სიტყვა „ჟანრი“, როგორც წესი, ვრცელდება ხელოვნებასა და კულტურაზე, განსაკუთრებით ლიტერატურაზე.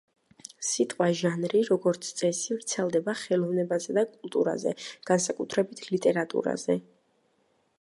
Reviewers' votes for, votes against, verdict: 2, 0, accepted